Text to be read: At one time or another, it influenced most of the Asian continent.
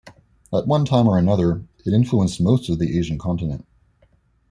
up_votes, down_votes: 2, 0